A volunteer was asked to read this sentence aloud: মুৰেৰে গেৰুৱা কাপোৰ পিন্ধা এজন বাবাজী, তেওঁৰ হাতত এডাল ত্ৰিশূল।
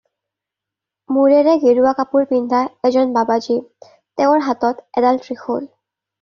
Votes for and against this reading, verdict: 2, 0, accepted